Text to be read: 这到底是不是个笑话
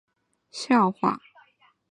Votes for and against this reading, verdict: 0, 3, rejected